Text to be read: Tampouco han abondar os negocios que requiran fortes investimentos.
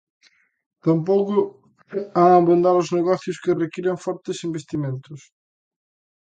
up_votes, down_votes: 2, 0